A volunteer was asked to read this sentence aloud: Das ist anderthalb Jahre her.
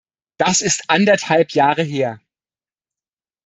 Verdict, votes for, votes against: accepted, 2, 0